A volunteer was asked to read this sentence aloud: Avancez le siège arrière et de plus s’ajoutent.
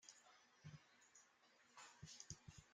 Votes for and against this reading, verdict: 0, 2, rejected